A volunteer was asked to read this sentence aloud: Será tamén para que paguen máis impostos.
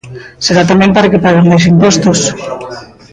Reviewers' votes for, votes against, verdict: 0, 2, rejected